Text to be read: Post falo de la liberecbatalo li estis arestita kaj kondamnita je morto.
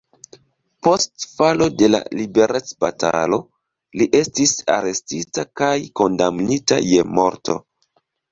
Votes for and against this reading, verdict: 1, 2, rejected